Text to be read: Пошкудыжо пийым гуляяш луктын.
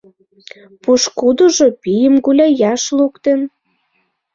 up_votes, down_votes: 2, 0